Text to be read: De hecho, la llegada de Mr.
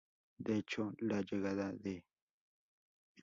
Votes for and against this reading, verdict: 0, 2, rejected